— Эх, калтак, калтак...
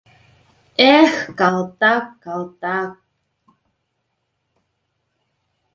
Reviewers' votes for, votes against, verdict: 2, 0, accepted